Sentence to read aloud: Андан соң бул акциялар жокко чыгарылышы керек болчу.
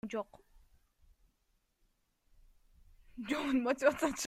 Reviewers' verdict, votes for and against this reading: rejected, 0, 2